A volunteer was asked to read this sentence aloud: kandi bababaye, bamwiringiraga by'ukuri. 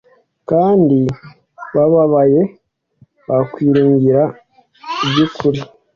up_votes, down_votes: 2, 0